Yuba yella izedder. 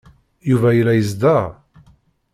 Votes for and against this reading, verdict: 1, 2, rejected